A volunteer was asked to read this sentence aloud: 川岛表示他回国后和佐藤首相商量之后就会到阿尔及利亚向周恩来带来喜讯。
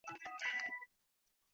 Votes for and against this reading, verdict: 0, 2, rejected